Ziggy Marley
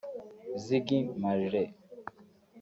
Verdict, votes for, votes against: rejected, 0, 2